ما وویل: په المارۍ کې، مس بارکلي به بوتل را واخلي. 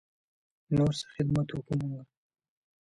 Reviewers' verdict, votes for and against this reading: rejected, 0, 2